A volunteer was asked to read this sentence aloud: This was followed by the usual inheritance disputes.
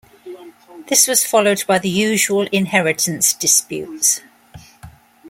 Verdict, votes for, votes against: accepted, 2, 0